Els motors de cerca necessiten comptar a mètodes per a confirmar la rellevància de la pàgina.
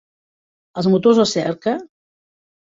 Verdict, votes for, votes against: rejected, 1, 2